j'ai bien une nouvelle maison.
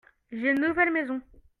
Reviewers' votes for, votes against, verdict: 0, 2, rejected